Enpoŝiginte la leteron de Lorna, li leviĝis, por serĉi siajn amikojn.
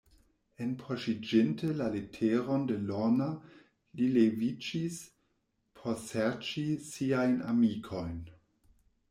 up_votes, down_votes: 1, 2